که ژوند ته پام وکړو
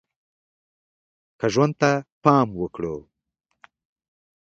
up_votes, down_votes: 2, 0